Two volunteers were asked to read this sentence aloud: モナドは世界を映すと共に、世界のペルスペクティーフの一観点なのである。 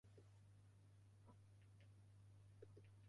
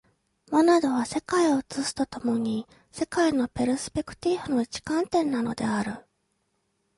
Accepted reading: second